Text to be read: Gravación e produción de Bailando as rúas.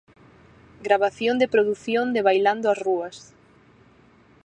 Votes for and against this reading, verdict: 0, 4, rejected